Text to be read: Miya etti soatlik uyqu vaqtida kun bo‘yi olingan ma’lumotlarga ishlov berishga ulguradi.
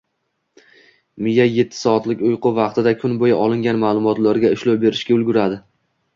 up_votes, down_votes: 2, 0